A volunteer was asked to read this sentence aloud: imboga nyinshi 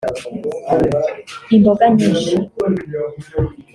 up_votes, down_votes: 0, 2